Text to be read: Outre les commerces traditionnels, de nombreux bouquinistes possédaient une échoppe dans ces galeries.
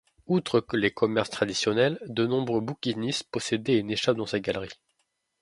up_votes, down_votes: 1, 2